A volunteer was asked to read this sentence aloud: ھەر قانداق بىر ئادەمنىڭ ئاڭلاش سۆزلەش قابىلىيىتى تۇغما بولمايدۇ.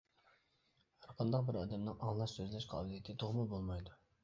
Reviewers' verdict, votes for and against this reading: rejected, 0, 2